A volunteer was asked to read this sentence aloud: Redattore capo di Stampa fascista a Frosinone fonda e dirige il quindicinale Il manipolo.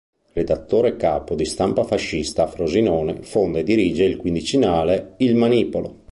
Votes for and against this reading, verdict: 2, 0, accepted